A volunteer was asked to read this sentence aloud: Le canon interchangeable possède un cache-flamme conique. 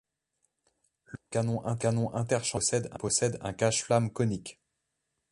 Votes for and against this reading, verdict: 0, 2, rejected